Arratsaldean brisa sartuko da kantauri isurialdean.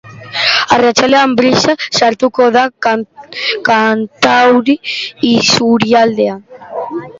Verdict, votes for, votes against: rejected, 0, 2